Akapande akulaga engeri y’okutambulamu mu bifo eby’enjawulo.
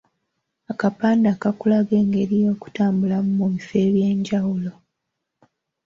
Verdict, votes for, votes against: accepted, 3, 0